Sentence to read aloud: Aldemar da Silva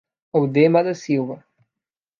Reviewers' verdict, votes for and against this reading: rejected, 1, 2